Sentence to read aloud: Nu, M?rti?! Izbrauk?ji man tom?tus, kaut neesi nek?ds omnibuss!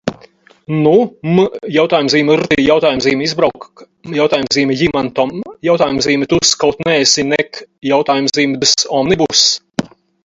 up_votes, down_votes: 2, 4